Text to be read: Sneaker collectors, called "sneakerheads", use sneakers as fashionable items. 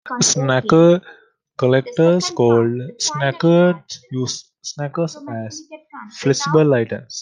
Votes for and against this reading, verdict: 0, 2, rejected